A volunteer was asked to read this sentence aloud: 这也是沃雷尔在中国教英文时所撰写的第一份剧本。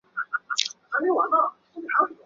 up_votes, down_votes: 1, 6